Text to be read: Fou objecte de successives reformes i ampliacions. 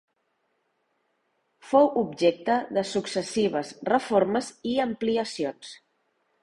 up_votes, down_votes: 2, 0